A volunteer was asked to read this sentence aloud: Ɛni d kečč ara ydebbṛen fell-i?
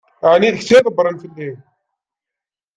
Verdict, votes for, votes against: accepted, 2, 0